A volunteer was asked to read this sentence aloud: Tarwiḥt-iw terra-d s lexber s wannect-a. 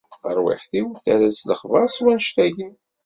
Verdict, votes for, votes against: rejected, 1, 2